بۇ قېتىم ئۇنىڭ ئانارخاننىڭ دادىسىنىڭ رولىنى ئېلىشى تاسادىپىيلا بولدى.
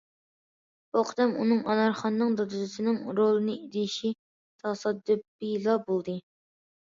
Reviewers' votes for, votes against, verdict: 2, 1, accepted